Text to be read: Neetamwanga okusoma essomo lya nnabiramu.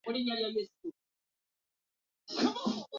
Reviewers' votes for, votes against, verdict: 0, 2, rejected